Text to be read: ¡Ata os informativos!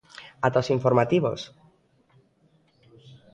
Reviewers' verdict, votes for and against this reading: accepted, 2, 0